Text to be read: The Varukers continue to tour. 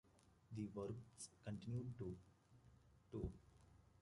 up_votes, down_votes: 2, 1